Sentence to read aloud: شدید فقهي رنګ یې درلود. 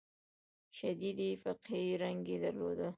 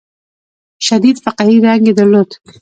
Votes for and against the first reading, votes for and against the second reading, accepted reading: 2, 1, 0, 2, first